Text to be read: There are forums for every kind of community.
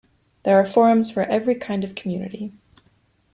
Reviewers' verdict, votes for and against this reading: accepted, 2, 0